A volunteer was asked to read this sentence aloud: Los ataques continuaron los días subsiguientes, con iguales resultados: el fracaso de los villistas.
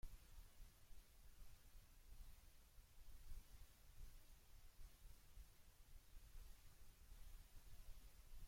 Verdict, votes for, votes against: rejected, 0, 2